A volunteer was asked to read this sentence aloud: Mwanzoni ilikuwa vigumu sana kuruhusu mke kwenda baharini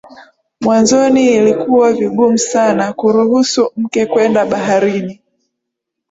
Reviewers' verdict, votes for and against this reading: accepted, 4, 0